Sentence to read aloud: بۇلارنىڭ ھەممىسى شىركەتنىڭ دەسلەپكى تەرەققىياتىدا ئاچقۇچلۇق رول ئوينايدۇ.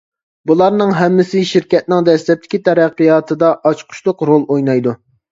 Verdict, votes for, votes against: rejected, 1, 2